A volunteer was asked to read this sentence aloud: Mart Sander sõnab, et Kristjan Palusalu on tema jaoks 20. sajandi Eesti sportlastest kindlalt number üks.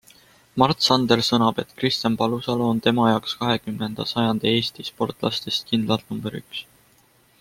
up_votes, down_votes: 0, 2